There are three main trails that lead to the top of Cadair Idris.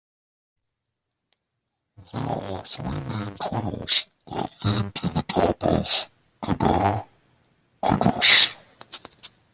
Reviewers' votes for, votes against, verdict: 0, 2, rejected